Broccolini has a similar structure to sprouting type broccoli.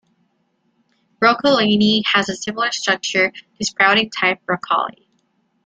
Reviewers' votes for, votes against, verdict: 2, 1, accepted